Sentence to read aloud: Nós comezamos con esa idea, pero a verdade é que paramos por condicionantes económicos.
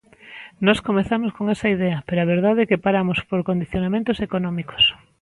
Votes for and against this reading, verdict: 0, 2, rejected